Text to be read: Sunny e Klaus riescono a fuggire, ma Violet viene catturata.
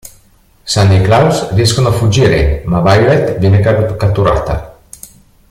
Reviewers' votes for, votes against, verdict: 1, 2, rejected